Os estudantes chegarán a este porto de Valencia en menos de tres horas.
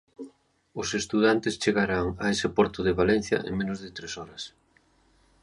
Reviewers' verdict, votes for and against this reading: rejected, 1, 2